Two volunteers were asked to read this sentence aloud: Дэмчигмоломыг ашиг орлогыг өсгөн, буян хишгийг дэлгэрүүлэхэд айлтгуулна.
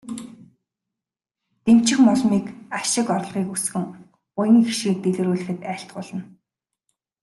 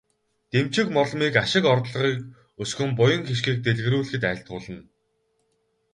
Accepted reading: first